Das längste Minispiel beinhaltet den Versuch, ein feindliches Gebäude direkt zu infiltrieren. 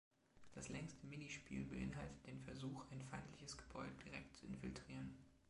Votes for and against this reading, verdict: 2, 0, accepted